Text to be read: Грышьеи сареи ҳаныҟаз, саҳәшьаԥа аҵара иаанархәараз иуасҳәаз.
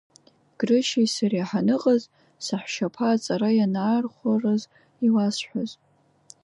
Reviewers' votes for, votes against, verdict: 0, 2, rejected